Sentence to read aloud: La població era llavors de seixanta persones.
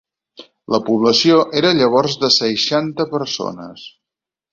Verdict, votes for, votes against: accepted, 4, 0